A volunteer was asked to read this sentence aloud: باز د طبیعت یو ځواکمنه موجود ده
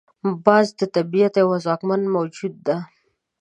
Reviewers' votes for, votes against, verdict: 6, 0, accepted